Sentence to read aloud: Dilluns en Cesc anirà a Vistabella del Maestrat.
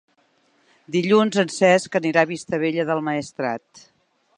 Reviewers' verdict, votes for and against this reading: accepted, 3, 0